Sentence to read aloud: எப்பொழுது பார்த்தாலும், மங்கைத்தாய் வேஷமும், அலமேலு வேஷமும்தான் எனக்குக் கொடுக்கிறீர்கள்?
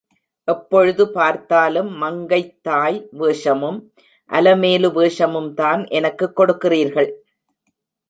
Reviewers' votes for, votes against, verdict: 2, 0, accepted